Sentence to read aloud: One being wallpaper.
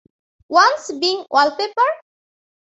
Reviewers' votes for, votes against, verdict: 2, 1, accepted